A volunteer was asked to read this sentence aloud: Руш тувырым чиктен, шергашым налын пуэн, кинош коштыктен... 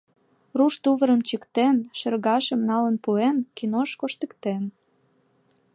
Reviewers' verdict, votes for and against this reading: accepted, 2, 0